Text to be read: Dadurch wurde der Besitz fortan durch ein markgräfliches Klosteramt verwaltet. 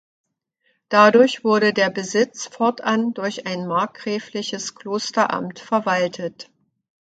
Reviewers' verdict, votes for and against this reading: accepted, 2, 0